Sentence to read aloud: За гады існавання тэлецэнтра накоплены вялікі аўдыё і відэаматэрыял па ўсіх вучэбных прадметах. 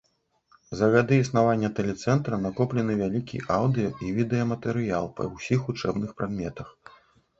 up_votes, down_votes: 2, 0